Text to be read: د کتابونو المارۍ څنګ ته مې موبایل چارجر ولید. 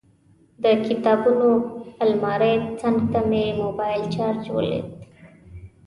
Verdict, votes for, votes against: accepted, 2, 0